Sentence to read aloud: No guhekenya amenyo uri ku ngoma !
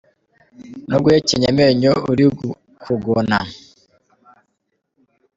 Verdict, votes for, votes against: rejected, 0, 2